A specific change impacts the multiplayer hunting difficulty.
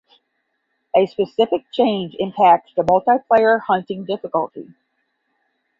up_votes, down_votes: 10, 0